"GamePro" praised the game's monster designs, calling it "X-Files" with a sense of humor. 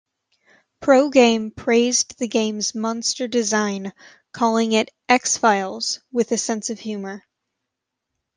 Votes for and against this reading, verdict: 1, 2, rejected